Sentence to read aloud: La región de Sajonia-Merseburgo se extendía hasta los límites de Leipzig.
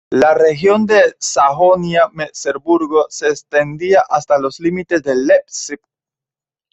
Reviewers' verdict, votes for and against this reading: accepted, 2, 0